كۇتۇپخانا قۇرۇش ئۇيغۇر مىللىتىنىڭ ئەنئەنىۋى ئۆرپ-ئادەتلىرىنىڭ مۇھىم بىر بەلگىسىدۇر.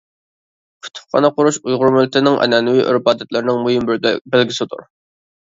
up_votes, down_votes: 0, 2